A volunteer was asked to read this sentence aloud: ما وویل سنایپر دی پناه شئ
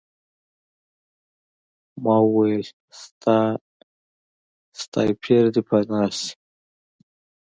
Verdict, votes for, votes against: accepted, 2, 1